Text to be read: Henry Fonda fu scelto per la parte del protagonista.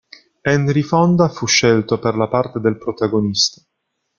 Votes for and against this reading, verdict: 1, 2, rejected